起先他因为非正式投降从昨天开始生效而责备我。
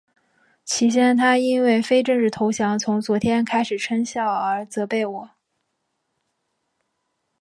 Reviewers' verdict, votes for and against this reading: accepted, 4, 0